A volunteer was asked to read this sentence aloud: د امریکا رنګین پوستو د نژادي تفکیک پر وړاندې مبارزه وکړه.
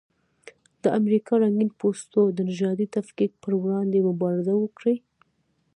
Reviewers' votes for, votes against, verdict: 0, 2, rejected